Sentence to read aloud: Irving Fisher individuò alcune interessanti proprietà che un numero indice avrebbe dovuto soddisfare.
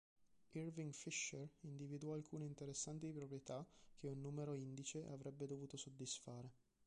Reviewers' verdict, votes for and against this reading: accepted, 2, 1